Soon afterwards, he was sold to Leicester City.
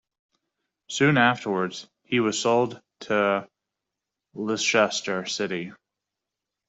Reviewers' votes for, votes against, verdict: 0, 2, rejected